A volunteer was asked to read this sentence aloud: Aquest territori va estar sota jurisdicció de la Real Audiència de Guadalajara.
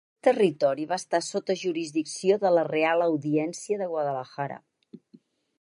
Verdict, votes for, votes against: rejected, 2, 4